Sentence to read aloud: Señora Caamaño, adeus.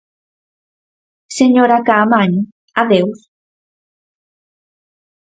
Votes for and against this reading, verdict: 4, 0, accepted